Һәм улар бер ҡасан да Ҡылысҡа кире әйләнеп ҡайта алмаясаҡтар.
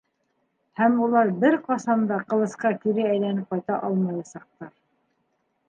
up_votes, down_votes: 2, 0